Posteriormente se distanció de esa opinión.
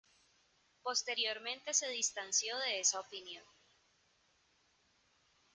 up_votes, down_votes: 2, 1